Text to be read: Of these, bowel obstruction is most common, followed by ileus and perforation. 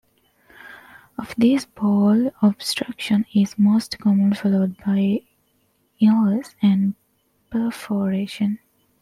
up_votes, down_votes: 2, 0